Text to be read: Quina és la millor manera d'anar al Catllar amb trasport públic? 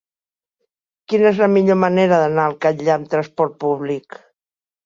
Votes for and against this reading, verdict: 2, 1, accepted